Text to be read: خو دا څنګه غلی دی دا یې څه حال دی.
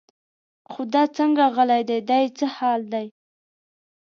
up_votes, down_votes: 2, 0